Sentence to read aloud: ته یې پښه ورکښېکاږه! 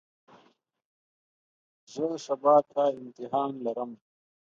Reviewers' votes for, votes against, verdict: 0, 2, rejected